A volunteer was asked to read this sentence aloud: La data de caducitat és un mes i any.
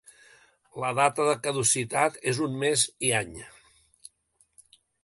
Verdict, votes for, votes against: accepted, 2, 0